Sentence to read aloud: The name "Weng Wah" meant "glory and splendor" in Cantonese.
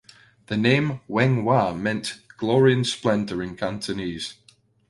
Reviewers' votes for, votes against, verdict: 2, 0, accepted